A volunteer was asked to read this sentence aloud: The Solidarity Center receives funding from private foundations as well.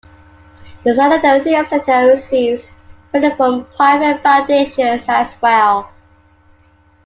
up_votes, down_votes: 1, 2